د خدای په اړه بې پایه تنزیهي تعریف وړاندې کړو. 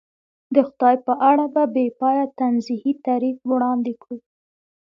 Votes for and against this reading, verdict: 2, 0, accepted